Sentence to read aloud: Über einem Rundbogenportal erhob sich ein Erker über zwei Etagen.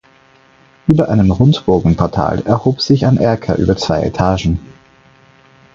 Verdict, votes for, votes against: accepted, 4, 0